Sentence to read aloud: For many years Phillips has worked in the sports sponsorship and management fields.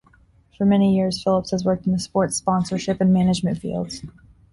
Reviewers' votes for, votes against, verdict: 2, 0, accepted